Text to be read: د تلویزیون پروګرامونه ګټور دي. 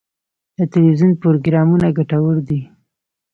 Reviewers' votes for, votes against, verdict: 2, 1, accepted